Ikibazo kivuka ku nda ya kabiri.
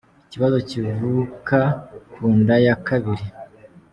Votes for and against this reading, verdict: 2, 1, accepted